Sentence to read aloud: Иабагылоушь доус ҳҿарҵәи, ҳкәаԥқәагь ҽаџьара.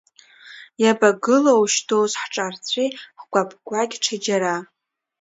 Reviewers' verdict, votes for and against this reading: accepted, 2, 1